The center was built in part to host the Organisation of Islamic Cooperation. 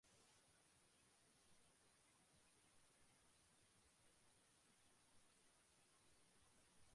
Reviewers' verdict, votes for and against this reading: rejected, 0, 2